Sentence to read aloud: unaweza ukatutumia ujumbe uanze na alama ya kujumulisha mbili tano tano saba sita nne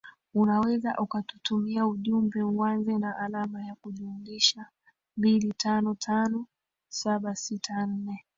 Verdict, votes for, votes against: rejected, 1, 2